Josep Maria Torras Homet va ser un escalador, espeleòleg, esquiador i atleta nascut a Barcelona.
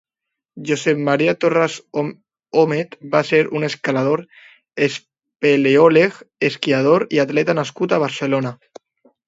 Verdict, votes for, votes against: rejected, 0, 2